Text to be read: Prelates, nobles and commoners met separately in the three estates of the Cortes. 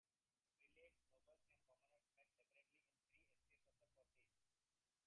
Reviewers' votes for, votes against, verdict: 1, 3, rejected